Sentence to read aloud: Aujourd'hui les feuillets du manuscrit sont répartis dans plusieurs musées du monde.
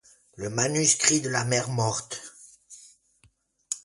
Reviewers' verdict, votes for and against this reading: rejected, 0, 2